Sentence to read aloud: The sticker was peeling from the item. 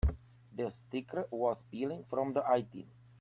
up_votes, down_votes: 0, 2